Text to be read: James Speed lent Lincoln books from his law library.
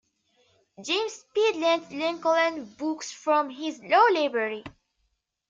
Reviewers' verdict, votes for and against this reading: rejected, 0, 2